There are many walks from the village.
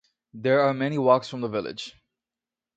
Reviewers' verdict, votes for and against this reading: accepted, 2, 0